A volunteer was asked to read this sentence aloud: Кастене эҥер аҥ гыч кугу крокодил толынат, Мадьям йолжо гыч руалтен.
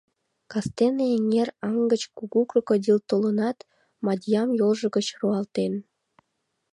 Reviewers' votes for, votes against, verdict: 2, 0, accepted